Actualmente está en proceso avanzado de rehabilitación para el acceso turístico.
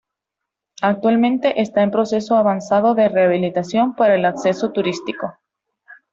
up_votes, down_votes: 2, 0